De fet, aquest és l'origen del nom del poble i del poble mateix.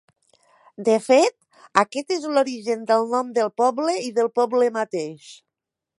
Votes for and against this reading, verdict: 2, 0, accepted